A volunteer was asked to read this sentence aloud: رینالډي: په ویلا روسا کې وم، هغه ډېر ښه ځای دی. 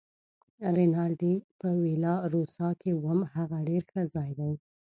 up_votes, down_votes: 1, 2